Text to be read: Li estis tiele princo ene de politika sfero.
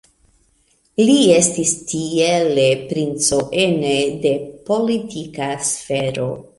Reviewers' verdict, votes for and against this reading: accepted, 2, 0